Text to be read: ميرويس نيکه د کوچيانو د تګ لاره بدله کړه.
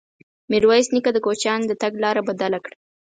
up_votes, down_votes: 4, 0